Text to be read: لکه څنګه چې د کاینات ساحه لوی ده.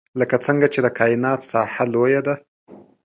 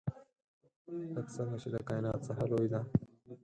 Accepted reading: first